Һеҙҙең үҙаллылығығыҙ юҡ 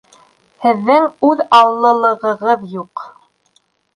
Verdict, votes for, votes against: accepted, 2, 0